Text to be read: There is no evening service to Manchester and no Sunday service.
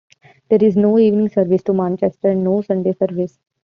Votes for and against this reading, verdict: 2, 1, accepted